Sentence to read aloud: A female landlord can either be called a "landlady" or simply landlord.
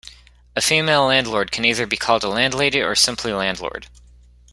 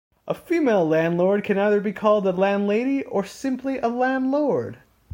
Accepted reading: first